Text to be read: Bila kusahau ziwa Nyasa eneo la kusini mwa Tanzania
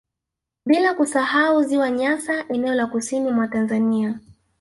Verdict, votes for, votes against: accepted, 2, 0